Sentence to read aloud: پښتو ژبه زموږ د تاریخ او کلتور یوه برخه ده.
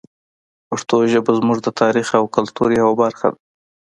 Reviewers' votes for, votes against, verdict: 2, 0, accepted